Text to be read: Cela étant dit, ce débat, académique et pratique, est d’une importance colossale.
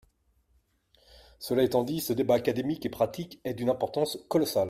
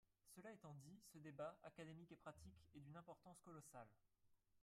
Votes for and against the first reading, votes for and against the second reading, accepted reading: 2, 0, 0, 3, first